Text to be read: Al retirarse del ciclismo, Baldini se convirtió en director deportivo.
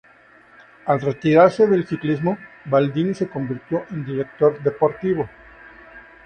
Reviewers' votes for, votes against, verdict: 2, 0, accepted